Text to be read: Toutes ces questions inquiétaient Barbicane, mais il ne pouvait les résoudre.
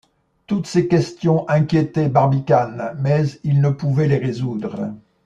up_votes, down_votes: 2, 0